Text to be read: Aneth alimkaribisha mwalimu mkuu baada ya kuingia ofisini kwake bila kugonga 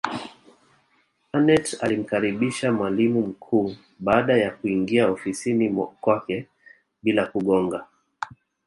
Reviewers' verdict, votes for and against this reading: rejected, 1, 2